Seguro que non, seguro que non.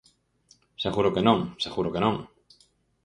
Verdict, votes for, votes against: accepted, 4, 0